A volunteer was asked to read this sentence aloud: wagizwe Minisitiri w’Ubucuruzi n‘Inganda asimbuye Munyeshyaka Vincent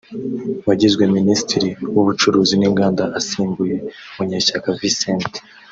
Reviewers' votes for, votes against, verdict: 2, 0, accepted